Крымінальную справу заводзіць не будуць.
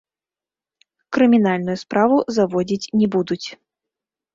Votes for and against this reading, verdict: 0, 2, rejected